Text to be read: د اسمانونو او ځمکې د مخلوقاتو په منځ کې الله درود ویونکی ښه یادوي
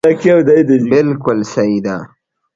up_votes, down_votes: 0, 2